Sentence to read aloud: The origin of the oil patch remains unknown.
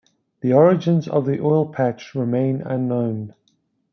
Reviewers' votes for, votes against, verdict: 1, 2, rejected